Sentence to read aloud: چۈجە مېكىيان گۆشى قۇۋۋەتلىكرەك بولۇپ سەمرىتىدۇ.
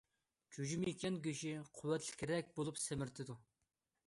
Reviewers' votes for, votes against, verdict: 1, 2, rejected